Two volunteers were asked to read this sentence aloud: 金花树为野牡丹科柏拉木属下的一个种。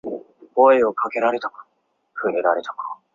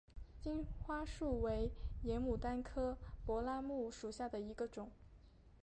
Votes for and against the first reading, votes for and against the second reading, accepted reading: 0, 2, 2, 1, second